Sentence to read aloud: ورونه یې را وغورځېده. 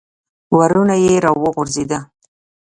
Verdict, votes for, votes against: accepted, 2, 0